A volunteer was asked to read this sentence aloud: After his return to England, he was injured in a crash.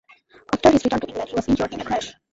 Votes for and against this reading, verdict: 1, 2, rejected